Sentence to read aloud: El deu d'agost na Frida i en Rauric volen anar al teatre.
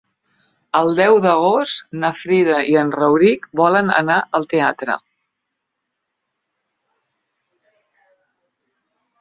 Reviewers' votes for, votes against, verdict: 2, 0, accepted